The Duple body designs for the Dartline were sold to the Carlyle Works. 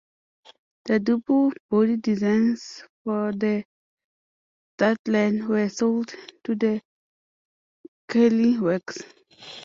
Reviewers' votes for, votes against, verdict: 0, 2, rejected